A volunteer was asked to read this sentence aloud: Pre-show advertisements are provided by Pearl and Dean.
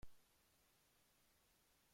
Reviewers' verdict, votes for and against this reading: rejected, 0, 2